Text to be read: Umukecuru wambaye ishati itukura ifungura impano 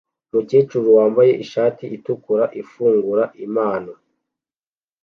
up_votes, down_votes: 2, 0